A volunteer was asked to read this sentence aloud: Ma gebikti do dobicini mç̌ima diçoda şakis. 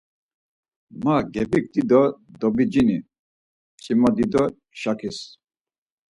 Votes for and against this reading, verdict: 2, 4, rejected